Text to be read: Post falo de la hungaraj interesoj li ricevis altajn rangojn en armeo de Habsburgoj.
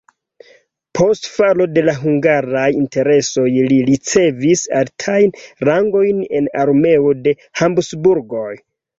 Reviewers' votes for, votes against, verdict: 0, 2, rejected